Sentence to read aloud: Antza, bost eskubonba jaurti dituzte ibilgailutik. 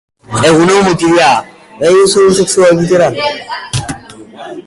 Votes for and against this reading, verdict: 0, 2, rejected